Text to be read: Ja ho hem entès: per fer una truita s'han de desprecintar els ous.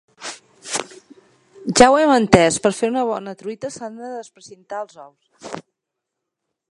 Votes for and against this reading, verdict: 1, 2, rejected